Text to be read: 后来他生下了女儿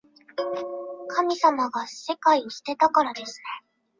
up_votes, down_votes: 3, 2